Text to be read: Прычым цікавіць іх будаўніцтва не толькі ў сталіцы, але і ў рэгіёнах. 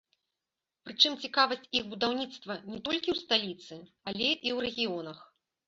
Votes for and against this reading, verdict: 0, 2, rejected